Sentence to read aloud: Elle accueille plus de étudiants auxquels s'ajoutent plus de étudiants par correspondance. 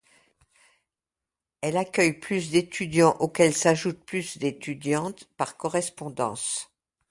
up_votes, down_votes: 0, 2